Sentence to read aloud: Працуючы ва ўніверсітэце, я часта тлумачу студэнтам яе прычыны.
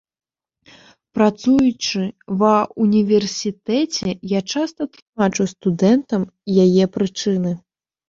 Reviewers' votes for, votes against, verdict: 1, 2, rejected